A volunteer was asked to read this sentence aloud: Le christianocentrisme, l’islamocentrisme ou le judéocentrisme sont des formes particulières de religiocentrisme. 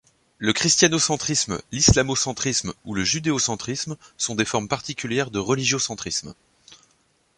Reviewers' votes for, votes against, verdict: 2, 0, accepted